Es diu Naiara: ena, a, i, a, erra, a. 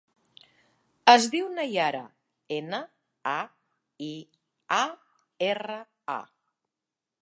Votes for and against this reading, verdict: 2, 0, accepted